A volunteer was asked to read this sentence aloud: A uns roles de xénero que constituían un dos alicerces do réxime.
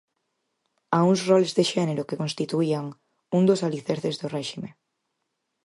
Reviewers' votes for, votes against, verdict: 4, 0, accepted